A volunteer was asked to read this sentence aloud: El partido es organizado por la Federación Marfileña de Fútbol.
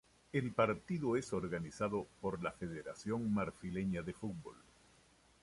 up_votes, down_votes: 2, 0